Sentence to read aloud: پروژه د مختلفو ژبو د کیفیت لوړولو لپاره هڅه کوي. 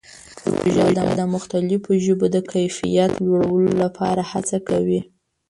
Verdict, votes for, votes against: rejected, 1, 2